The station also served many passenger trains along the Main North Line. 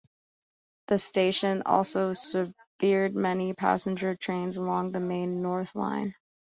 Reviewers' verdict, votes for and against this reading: rejected, 1, 2